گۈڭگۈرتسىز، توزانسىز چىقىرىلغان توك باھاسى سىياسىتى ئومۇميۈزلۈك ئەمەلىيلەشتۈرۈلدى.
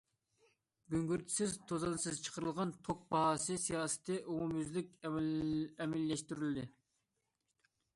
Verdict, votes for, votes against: rejected, 0, 2